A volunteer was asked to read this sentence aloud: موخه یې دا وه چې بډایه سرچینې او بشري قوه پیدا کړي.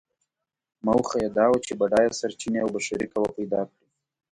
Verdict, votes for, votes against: accepted, 2, 0